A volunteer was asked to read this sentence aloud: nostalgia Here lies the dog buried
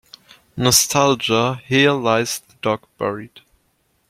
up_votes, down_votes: 0, 2